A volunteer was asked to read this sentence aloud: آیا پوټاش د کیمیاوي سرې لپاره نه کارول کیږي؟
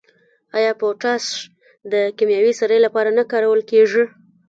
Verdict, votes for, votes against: rejected, 0, 2